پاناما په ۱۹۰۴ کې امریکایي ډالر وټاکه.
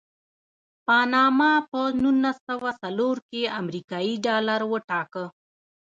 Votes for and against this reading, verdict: 0, 2, rejected